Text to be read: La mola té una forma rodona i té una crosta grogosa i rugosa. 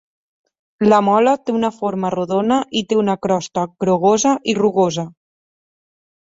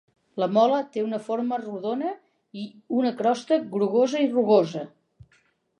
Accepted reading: first